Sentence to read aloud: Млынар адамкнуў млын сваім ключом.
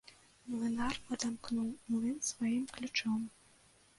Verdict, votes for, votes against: rejected, 1, 2